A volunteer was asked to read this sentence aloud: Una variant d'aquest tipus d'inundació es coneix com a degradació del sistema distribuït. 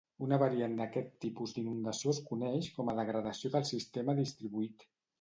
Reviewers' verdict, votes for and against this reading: accepted, 2, 0